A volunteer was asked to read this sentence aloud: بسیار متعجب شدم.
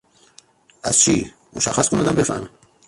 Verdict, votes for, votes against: rejected, 0, 2